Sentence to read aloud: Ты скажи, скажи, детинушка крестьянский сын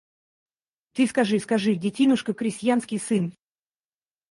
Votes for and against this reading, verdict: 4, 0, accepted